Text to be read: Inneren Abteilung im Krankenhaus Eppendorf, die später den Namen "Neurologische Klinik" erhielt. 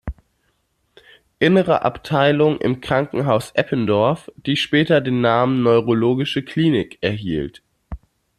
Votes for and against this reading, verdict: 1, 2, rejected